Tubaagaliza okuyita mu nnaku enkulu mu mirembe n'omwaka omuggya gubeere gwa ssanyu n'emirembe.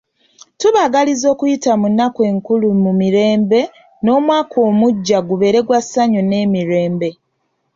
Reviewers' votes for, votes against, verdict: 2, 0, accepted